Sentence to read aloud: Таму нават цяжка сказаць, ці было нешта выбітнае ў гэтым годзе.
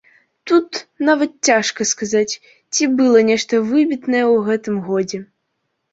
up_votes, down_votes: 1, 2